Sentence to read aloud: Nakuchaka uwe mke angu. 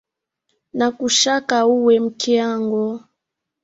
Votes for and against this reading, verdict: 2, 0, accepted